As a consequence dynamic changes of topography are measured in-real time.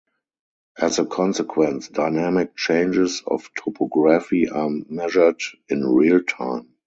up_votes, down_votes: 2, 4